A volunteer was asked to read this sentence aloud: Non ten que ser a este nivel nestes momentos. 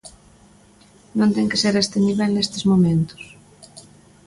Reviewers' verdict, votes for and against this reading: accepted, 2, 1